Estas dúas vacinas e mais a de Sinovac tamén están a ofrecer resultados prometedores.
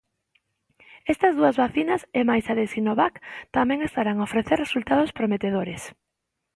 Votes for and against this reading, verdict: 1, 2, rejected